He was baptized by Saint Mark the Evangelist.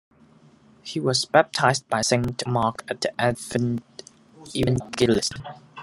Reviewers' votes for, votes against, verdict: 0, 2, rejected